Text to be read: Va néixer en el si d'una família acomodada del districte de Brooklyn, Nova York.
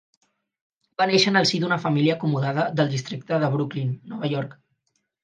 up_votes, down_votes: 4, 0